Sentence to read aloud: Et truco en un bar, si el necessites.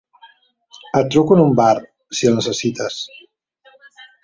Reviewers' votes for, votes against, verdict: 2, 0, accepted